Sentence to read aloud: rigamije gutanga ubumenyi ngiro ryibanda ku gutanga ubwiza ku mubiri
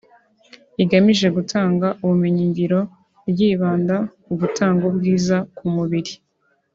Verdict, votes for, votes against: accepted, 2, 0